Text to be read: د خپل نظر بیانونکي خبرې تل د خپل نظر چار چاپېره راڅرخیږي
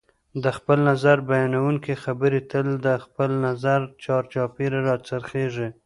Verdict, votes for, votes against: accepted, 2, 1